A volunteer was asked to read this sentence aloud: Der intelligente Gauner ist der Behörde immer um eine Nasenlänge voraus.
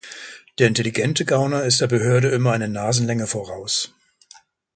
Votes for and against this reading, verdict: 0, 2, rejected